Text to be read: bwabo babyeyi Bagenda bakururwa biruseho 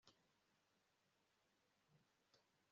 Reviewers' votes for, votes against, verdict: 0, 2, rejected